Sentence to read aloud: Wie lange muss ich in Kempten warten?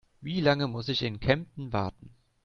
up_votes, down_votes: 2, 0